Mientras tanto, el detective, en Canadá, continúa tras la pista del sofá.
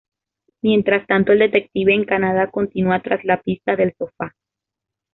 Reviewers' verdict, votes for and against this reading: accepted, 2, 0